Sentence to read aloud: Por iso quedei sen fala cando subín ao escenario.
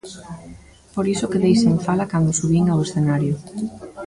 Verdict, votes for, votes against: rejected, 1, 2